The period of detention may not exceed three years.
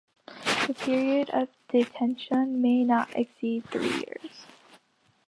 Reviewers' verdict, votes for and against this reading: accepted, 2, 1